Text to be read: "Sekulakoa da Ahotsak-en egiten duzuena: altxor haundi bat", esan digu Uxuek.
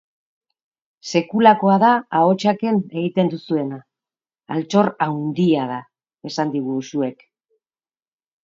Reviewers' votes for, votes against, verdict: 0, 2, rejected